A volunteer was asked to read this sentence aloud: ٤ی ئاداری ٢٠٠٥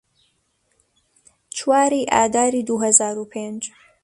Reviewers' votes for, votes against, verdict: 0, 2, rejected